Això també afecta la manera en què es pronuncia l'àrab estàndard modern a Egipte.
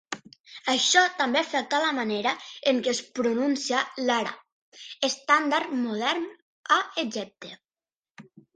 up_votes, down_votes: 1, 2